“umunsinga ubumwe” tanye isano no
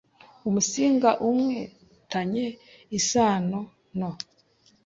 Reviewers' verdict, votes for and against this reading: rejected, 0, 2